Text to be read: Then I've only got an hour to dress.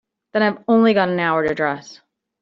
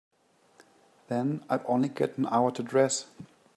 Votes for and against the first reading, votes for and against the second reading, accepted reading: 2, 0, 1, 2, first